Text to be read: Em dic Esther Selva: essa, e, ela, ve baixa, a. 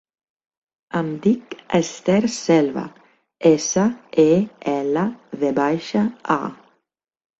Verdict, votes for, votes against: accepted, 3, 0